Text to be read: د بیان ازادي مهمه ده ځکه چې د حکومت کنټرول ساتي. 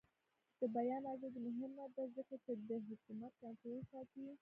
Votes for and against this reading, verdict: 1, 2, rejected